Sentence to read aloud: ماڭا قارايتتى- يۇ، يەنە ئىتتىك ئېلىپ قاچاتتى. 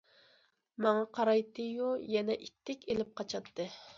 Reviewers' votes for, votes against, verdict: 2, 0, accepted